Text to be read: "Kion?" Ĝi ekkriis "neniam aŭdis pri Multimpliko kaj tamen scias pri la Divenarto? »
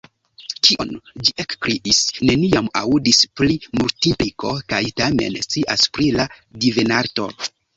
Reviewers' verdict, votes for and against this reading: accepted, 2, 0